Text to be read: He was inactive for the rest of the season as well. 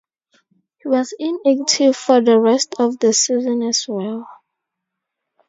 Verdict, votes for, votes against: rejected, 2, 4